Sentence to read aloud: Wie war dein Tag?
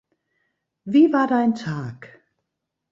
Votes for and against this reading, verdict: 2, 0, accepted